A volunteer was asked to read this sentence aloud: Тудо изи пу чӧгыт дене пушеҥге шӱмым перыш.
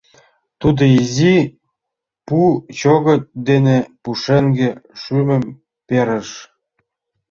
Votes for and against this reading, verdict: 0, 2, rejected